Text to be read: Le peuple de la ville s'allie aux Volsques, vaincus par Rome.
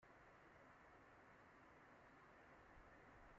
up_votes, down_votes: 1, 2